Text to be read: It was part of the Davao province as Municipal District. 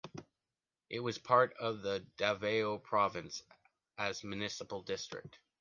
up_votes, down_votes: 2, 0